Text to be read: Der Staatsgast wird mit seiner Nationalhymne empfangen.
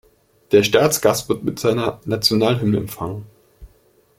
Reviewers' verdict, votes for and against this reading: accepted, 2, 0